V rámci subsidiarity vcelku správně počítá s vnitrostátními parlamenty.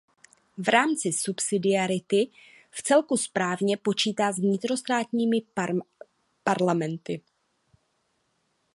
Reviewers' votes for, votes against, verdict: 0, 2, rejected